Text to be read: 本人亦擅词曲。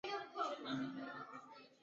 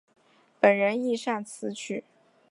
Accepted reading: second